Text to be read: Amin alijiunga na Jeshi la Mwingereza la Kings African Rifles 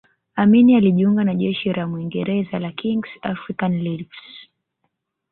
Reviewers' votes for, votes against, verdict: 1, 2, rejected